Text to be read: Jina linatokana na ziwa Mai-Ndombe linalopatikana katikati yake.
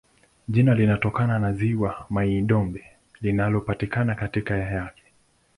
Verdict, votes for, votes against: rejected, 1, 2